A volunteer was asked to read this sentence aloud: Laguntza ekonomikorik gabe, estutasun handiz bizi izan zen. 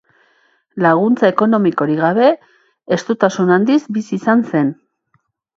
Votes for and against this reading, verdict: 3, 0, accepted